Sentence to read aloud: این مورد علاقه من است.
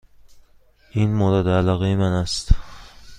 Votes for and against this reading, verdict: 2, 0, accepted